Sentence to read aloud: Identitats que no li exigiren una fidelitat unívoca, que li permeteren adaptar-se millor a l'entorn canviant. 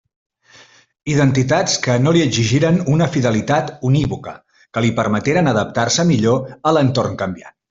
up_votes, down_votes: 2, 1